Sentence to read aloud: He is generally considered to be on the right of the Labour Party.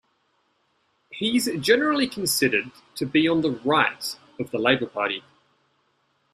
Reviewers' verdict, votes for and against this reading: rejected, 0, 2